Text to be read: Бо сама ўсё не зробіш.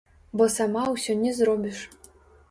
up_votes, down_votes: 0, 2